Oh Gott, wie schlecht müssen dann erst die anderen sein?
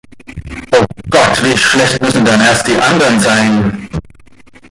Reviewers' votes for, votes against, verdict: 1, 2, rejected